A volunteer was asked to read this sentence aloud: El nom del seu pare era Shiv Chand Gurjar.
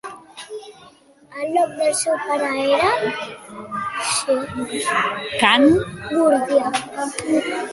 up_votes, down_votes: 0, 2